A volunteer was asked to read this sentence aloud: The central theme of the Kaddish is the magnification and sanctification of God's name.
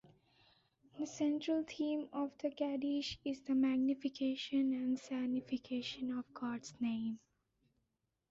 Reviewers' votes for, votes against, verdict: 2, 0, accepted